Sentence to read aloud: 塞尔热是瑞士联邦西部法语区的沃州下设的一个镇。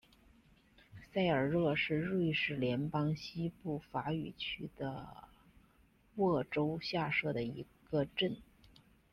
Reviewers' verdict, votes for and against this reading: accepted, 2, 0